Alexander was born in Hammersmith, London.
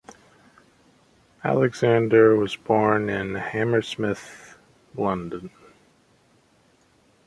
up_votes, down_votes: 2, 0